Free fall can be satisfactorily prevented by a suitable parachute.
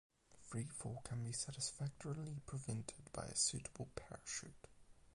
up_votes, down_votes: 4, 4